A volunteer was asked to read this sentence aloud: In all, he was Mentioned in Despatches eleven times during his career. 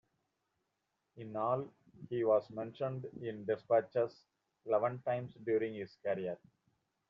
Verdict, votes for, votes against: rejected, 1, 2